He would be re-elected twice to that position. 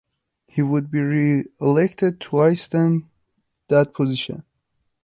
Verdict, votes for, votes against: rejected, 0, 2